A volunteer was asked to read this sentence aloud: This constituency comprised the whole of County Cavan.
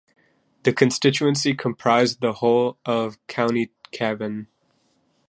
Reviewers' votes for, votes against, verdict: 0, 2, rejected